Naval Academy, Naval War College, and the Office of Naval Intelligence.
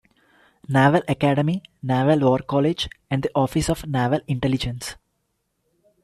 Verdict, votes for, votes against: rejected, 0, 2